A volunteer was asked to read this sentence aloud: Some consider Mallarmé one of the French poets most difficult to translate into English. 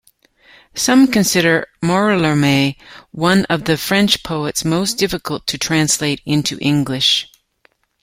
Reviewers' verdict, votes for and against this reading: accepted, 2, 1